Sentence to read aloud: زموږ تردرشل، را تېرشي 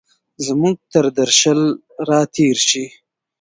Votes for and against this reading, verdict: 1, 2, rejected